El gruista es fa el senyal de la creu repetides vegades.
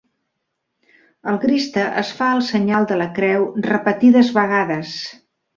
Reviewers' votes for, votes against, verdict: 0, 2, rejected